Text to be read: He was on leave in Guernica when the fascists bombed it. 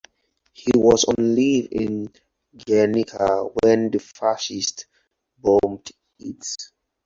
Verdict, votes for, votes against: rejected, 0, 4